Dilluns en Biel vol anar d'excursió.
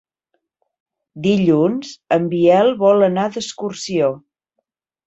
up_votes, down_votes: 2, 0